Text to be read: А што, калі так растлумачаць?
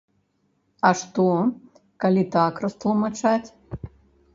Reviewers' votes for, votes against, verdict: 0, 2, rejected